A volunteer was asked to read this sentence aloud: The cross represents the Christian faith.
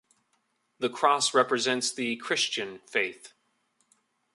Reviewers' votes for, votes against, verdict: 2, 0, accepted